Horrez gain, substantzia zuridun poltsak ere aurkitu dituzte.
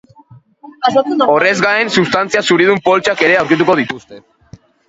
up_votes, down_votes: 0, 2